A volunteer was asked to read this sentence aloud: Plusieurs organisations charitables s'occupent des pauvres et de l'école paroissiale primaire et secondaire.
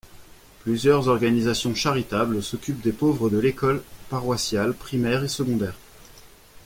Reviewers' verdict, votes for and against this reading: rejected, 1, 2